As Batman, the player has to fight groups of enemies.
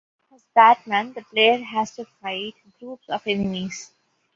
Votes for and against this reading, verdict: 0, 2, rejected